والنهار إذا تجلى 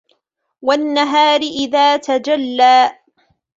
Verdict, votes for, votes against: accepted, 2, 0